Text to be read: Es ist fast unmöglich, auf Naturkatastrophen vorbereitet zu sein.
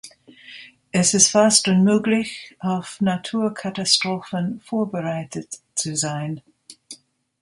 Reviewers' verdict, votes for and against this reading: rejected, 1, 2